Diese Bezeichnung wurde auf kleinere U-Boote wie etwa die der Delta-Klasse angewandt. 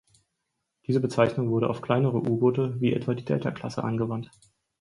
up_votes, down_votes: 2, 4